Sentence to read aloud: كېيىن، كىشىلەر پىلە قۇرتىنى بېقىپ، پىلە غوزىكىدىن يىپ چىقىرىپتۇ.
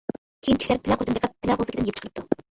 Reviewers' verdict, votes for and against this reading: rejected, 0, 2